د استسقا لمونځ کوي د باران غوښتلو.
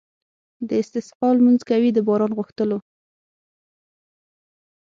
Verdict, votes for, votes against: rejected, 0, 6